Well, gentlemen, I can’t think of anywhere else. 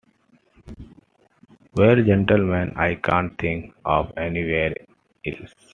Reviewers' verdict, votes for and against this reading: accepted, 3, 0